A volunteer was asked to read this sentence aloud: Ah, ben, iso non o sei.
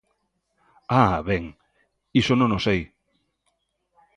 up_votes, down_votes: 2, 0